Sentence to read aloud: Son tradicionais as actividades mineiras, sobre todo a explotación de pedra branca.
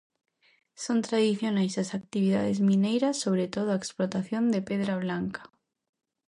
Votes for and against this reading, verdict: 0, 2, rejected